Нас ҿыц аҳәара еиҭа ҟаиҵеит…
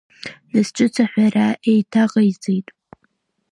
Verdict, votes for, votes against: accepted, 2, 0